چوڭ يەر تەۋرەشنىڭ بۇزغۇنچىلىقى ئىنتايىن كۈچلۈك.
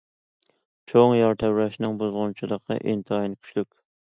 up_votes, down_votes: 2, 0